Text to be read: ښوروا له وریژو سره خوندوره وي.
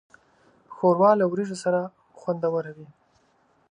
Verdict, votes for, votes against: accepted, 2, 0